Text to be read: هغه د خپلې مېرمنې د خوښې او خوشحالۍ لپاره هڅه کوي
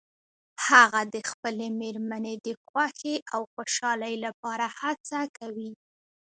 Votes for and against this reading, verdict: 2, 0, accepted